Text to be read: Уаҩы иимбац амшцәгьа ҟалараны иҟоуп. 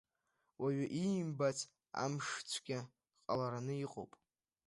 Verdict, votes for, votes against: accepted, 2, 0